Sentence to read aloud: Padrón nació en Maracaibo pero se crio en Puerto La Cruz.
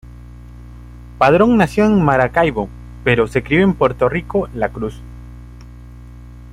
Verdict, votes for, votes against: rejected, 0, 2